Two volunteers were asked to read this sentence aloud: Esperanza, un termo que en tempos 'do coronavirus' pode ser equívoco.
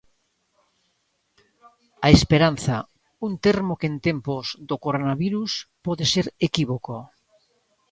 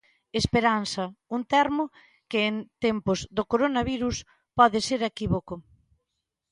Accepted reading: second